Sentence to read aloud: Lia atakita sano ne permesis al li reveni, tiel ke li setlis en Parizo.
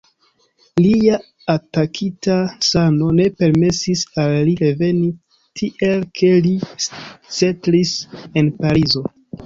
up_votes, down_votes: 2, 0